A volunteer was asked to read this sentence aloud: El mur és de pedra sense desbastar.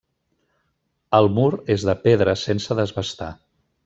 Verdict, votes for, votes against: accepted, 2, 0